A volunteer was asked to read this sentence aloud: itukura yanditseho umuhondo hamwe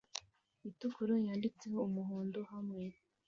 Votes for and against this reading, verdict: 2, 0, accepted